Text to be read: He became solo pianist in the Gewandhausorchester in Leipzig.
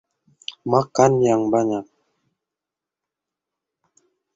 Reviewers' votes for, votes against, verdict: 0, 2, rejected